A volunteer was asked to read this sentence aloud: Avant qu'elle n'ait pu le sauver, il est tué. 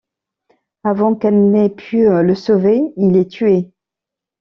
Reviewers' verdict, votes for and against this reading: rejected, 1, 2